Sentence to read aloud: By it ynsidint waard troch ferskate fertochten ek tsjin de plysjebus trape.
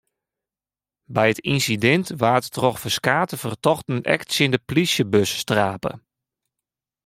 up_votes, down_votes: 2, 0